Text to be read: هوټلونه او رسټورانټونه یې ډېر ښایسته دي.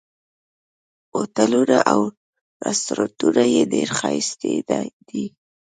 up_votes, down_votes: 0, 2